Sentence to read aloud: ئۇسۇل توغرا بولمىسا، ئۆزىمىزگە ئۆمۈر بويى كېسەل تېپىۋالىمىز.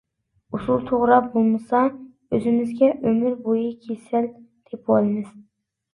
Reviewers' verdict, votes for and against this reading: rejected, 1, 2